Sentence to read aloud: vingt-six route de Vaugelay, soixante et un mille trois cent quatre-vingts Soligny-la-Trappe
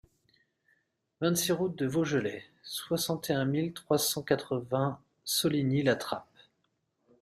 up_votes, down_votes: 2, 0